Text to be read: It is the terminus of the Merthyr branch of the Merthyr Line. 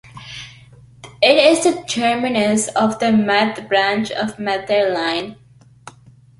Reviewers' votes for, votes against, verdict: 1, 2, rejected